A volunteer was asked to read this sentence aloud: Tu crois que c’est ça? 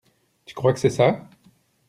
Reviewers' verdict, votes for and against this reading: accepted, 2, 0